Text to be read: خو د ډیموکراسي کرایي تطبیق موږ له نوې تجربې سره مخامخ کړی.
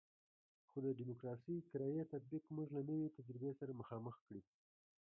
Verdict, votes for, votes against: rejected, 1, 2